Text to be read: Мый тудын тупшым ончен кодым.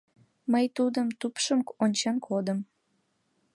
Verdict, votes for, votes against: accepted, 2, 0